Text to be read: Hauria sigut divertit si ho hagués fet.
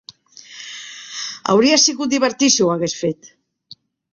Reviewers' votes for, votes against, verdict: 3, 0, accepted